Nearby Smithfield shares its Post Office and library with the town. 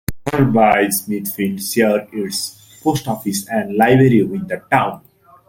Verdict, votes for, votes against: rejected, 0, 2